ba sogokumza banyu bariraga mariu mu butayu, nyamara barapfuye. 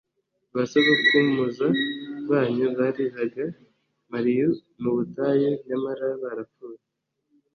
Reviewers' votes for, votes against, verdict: 3, 0, accepted